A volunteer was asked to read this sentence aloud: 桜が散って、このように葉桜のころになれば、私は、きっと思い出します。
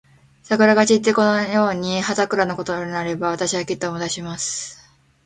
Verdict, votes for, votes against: rejected, 0, 2